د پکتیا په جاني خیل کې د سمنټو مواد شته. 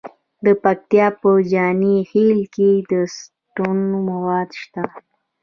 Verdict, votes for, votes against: rejected, 1, 2